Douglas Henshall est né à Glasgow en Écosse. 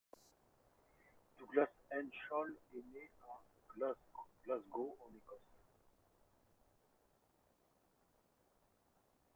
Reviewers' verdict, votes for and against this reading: rejected, 1, 2